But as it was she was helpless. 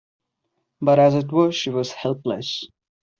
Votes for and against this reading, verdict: 2, 0, accepted